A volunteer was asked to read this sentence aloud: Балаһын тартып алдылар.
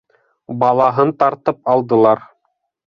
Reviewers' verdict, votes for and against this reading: accepted, 2, 0